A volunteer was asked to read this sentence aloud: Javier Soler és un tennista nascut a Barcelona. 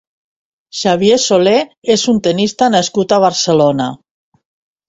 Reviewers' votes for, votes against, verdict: 1, 2, rejected